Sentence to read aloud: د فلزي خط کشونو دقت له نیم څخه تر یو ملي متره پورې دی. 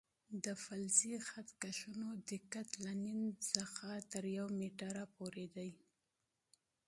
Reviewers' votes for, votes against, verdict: 1, 2, rejected